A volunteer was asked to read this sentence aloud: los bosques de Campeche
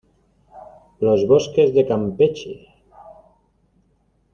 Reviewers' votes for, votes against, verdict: 2, 0, accepted